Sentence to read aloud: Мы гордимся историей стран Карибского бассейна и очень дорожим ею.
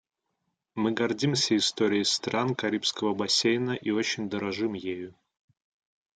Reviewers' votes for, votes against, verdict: 2, 0, accepted